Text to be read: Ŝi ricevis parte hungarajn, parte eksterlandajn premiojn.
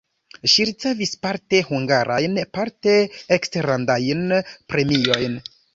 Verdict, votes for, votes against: rejected, 1, 2